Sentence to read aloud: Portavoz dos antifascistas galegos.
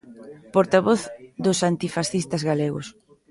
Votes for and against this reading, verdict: 4, 0, accepted